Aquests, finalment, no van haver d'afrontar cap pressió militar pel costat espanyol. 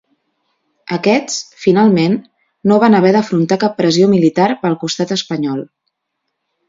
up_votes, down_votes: 2, 0